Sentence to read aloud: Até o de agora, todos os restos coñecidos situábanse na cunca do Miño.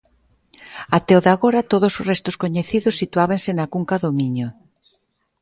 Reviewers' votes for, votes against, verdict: 2, 0, accepted